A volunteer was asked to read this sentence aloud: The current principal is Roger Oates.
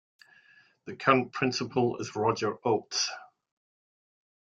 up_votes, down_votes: 2, 0